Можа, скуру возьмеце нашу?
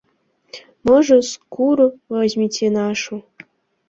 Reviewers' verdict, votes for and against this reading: accepted, 2, 0